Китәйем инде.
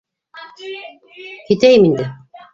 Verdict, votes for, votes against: rejected, 0, 2